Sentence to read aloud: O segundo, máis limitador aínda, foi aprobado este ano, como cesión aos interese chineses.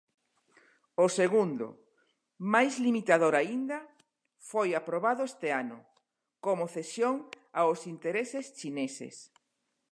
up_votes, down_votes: 0, 2